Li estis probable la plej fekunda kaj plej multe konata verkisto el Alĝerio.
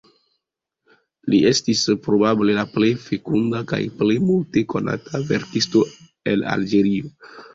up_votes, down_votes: 2, 0